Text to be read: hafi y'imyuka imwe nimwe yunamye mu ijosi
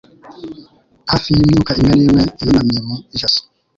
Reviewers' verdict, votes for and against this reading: rejected, 1, 2